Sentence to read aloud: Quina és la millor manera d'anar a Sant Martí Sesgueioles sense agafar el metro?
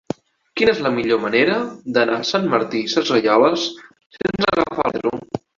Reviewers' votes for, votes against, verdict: 1, 2, rejected